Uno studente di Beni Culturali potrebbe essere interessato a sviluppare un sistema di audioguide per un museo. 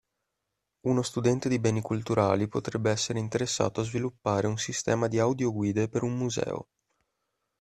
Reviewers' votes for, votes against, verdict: 2, 0, accepted